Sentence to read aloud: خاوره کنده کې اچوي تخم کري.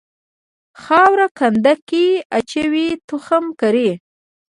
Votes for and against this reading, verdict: 0, 2, rejected